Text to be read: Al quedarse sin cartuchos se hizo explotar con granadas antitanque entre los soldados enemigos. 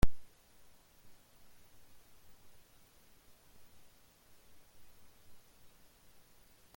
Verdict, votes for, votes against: rejected, 0, 2